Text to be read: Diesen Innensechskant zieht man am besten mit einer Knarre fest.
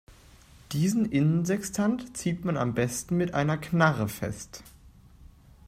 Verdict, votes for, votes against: rejected, 1, 2